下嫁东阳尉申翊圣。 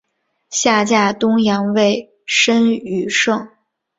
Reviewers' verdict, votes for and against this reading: accepted, 2, 1